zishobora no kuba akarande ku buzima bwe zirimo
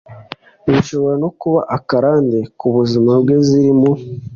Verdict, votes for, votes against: accepted, 2, 0